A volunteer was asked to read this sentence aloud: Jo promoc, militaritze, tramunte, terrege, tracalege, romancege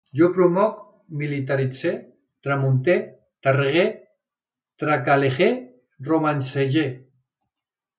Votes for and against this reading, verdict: 0, 2, rejected